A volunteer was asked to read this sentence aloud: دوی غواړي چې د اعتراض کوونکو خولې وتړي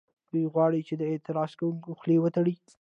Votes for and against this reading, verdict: 2, 0, accepted